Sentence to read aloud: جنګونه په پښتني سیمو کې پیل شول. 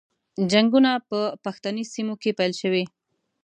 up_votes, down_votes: 0, 2